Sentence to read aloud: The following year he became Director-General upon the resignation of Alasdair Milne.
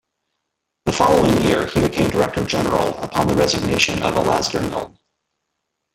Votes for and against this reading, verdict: 0, 2, rejected